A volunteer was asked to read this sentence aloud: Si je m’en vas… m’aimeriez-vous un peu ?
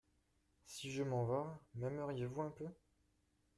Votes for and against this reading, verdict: 2, 0, accepted